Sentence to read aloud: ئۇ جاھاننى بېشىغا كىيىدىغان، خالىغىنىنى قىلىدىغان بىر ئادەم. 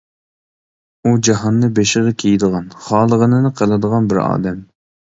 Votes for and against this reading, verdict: 2, 0, accepted